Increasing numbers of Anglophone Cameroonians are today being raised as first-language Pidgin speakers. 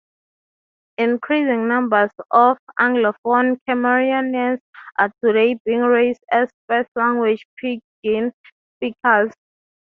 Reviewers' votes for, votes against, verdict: 3, 0, accepted